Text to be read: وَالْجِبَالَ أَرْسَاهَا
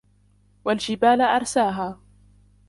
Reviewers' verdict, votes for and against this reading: rejected, 0, 2